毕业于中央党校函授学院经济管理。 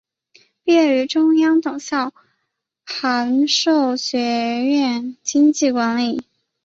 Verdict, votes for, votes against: rejected, 0, 2